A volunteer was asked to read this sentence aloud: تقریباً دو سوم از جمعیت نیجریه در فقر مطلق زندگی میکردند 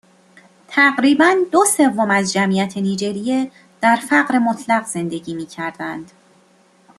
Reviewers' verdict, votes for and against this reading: accepted, 2, 0